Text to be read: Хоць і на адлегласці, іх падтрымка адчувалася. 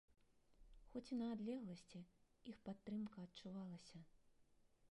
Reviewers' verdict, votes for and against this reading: rejected, 0, 2